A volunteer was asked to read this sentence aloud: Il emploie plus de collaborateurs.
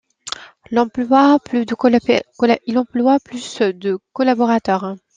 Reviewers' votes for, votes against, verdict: 0, 2, rejected